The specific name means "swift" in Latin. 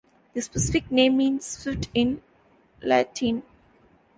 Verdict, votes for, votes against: rejected, 0, 2